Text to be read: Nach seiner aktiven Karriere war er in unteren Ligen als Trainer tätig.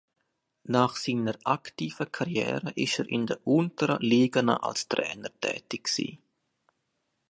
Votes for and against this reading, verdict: 0, 2, rejected